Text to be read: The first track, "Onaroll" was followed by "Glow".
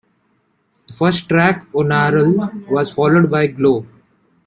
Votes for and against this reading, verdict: 0, 2, rejected